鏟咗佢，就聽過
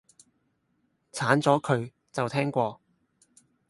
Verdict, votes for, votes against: accepted, 6, 0